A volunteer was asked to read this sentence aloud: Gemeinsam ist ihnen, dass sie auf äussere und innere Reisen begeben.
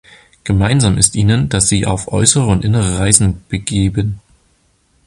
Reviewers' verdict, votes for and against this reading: accepted, 2, 0